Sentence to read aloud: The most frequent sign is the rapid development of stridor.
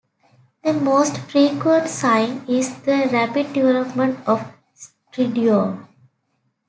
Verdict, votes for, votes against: rejected, 1, 2